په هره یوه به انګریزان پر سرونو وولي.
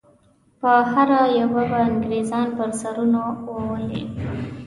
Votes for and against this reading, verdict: 2, 0, accepted